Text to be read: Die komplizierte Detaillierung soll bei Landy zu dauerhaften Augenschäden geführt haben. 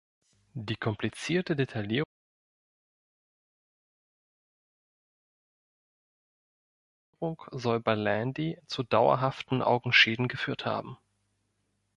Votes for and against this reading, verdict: 1, 2, rejected